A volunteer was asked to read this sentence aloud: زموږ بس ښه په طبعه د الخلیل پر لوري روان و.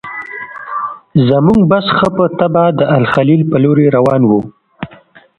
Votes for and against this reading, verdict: 0, 2, rejected